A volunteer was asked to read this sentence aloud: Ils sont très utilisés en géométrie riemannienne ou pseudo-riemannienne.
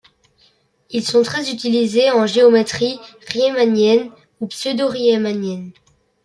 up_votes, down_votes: 2, 0